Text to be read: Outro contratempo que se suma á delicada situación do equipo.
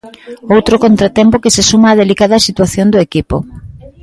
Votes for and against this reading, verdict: 2, 1, accepted